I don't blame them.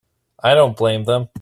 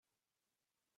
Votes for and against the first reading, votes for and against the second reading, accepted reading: 2, 0, 0, 4, first